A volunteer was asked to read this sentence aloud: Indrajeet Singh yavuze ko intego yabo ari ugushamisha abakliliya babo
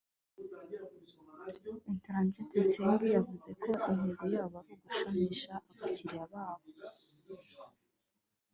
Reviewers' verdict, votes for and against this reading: rejected, 1, 2